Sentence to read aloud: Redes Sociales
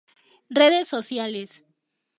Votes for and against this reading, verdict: 2, 0, accepted